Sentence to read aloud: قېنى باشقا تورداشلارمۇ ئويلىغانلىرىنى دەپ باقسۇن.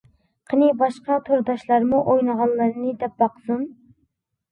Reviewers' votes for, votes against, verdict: 1, 2, rejected